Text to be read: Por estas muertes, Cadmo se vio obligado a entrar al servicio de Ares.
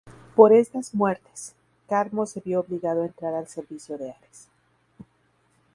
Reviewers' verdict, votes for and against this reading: rejected, 0, 2